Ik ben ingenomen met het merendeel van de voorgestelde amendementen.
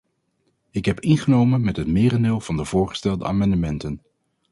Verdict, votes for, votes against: rejected, 0, 4